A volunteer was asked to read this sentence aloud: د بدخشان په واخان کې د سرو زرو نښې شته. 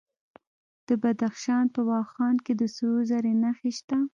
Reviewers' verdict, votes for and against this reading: rejected, 1, 2